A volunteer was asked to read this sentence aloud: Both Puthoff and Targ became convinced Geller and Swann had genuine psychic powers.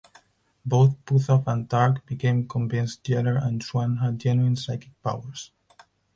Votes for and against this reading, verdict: 4, 2, accepted